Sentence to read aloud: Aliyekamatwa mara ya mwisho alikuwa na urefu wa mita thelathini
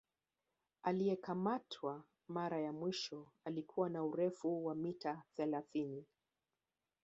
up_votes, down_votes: 0, 2